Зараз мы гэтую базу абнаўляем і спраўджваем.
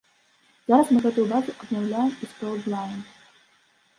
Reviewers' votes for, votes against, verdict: 0, 2, rejected